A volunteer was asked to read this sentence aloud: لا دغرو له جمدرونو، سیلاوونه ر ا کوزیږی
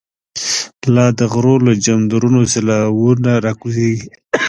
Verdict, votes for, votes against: accepted, 2, 0